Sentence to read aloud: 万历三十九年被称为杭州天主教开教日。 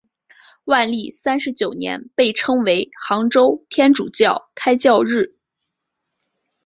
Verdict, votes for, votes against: accepted, 2, 0